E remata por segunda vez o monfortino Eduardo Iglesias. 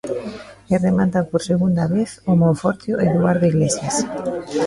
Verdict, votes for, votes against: rejected, 0, 2